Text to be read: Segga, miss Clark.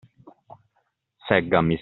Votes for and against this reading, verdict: 0, 2, rejected